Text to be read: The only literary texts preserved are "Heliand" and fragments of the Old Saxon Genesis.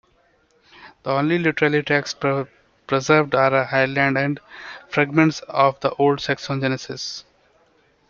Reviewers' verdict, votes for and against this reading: rejected, 0, 2